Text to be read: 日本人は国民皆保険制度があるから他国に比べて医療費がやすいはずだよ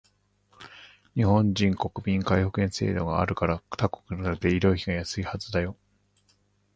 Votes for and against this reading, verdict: 1, 2, rejected